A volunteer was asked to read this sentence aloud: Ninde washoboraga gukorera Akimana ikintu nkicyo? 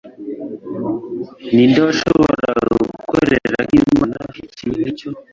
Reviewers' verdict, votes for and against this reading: rejected, 1, 2